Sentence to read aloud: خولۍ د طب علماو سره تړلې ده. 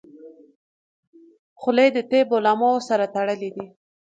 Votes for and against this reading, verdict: 2, 0, accepted